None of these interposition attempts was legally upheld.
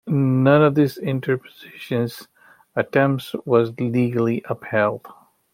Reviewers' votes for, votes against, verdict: 2, 1, accepted